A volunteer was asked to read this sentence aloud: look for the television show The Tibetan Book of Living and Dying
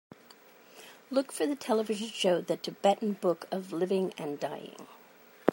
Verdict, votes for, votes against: accepted, 2, 0